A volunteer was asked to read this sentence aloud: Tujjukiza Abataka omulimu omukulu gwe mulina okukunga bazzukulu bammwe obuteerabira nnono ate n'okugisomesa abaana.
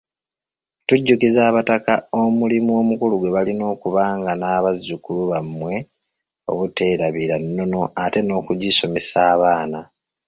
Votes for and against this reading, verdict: 1, 2, rejected